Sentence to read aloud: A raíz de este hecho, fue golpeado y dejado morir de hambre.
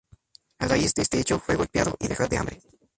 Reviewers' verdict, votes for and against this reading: rejected, 0, 2